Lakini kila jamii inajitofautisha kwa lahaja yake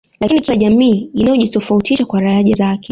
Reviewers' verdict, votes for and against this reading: accepted, 2, 0